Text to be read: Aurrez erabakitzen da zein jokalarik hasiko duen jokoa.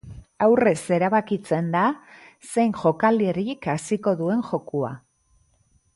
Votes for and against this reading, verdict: 0, 2, rejected